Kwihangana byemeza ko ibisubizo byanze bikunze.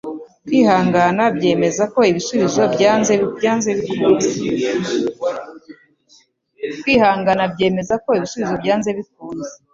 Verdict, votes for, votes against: rejected, 0, 2